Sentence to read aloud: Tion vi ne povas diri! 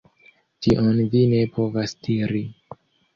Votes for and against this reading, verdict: 1, 2, rejected